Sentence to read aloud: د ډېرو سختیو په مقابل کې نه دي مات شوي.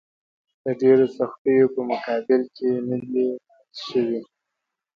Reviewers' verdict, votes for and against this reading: rejected, 0, 2